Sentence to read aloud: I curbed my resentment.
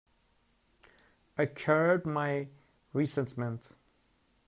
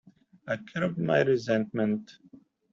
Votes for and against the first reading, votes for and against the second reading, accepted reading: 1, 2, 2, 0, second